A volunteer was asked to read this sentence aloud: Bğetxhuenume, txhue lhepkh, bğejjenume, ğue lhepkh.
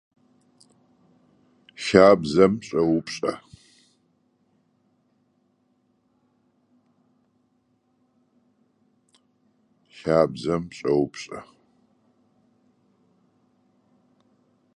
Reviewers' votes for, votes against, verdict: 0, 2, rejected